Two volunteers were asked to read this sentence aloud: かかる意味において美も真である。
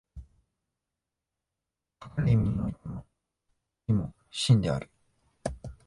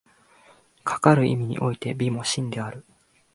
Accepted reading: second